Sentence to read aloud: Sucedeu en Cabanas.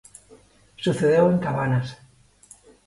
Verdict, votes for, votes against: accepted, 2, 0